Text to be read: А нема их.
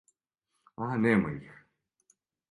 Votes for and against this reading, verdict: 2, 0, accepted